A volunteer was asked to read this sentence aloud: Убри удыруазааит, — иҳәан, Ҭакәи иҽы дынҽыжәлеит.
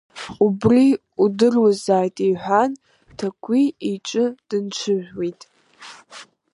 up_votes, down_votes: 1, 2